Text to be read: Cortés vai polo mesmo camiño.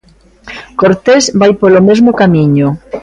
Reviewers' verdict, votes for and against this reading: accepted, 2, 0